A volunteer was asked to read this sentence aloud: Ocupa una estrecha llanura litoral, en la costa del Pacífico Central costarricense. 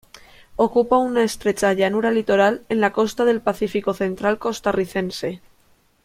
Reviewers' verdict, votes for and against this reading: accepted, 2, 0